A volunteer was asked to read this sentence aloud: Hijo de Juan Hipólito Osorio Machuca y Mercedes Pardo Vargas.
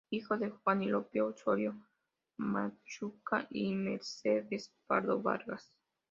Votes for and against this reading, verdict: 0, 2, rejected